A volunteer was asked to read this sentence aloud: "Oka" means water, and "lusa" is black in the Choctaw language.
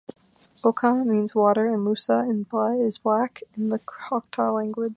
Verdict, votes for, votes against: rejected, 0, 2